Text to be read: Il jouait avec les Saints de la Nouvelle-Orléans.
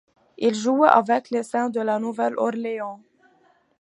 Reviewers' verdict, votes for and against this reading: accepted, 2, 1